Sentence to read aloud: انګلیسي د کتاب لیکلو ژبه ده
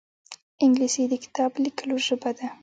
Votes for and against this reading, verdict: 2, 0, accepted